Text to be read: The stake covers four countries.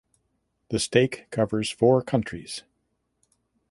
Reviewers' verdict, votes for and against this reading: accepted, 2, 0